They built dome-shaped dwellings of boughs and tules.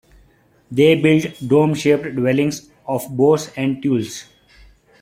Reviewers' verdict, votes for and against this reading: rejected, 0, 2